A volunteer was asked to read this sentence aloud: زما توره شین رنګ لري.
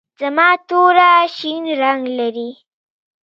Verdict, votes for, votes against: accepted, 2, 0